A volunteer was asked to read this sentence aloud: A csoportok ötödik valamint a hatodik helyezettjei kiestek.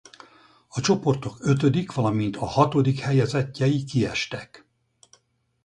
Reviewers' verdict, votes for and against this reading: rejected, 0, 2